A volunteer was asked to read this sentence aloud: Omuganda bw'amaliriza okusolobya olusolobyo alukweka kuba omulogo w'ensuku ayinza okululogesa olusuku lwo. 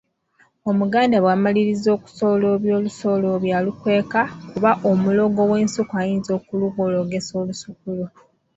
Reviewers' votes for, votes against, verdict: 2, 1, accepted